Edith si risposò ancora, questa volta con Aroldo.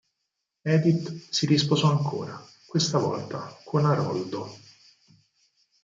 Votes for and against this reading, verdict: 4, 0, accepted